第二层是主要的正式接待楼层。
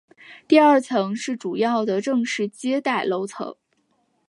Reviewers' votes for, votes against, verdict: 4, 0, accepted